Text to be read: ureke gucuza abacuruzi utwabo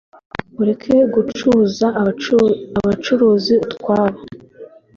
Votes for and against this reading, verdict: 0, 2, rejected